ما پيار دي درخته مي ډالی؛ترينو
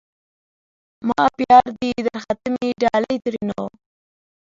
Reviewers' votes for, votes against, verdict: 0, 2, rejected